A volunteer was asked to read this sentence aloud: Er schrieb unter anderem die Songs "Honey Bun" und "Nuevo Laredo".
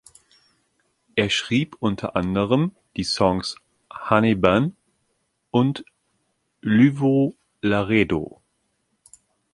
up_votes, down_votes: 1, 2